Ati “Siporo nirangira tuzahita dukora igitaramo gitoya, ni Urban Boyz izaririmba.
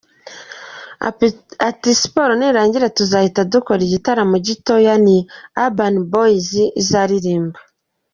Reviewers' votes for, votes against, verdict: 1, 2, rejected